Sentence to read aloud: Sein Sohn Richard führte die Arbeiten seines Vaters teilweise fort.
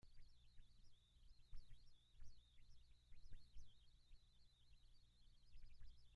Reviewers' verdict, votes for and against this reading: rejected, 0, 2